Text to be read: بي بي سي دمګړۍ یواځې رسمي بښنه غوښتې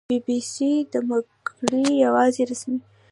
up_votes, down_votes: 1, 2